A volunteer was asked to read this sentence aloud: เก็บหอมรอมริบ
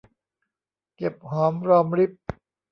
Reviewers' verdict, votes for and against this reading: accepted, 2, 0